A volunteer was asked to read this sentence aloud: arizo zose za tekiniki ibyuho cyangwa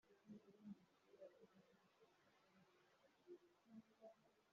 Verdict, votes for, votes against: rejected, 0, 2